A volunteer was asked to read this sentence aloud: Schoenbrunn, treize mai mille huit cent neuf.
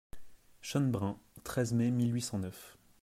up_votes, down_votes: 0, 2